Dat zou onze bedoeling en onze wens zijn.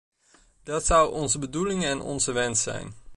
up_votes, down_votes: 2, 0